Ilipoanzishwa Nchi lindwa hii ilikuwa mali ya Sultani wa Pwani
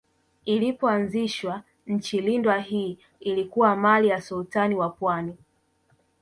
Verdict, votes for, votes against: accepted, 2, 0